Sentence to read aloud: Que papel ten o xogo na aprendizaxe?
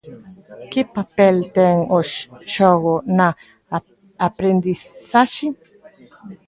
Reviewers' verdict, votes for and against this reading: rejected, 0, 2